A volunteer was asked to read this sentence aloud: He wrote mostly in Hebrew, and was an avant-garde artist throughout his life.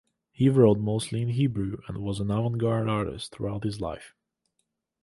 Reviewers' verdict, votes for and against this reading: accepted, 2, 0